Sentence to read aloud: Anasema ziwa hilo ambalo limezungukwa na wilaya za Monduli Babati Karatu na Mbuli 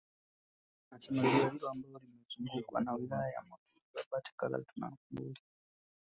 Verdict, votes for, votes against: rejected, 1, 2